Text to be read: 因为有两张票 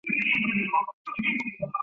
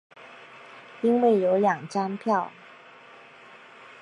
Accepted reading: second